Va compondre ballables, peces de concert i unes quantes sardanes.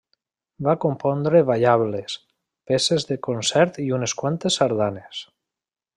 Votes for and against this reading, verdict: 3, 0, accepted